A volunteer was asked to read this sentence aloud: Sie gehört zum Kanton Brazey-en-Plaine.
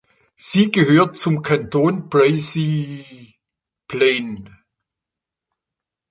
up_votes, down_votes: 0, 3